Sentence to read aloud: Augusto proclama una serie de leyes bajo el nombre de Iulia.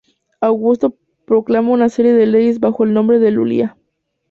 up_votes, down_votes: 2, 2